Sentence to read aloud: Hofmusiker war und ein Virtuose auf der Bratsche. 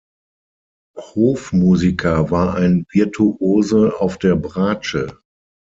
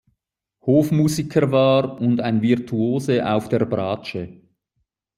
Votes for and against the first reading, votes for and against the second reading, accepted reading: 0, 6, 2, 0, second